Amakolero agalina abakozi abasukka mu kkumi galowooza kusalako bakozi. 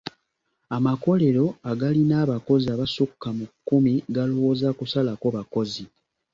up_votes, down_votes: 2, 0